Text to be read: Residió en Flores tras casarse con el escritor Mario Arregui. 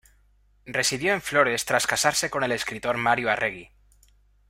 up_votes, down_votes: 2, 0